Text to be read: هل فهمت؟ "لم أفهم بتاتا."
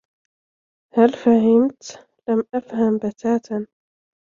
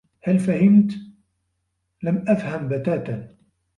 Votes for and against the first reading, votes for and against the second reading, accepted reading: 2, 0, 2, 3, first